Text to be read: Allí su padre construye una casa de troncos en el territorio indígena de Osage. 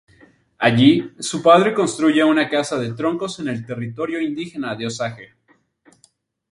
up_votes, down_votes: 2, 2